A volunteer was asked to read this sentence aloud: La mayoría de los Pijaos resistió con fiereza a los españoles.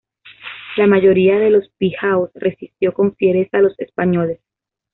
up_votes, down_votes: 2, 0